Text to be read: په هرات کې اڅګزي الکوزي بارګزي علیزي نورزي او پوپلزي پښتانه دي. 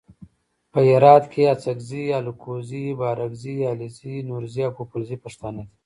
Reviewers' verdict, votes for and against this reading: rejected, 1, 2